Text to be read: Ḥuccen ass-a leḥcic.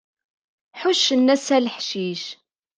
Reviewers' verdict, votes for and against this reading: accepted, 2, 0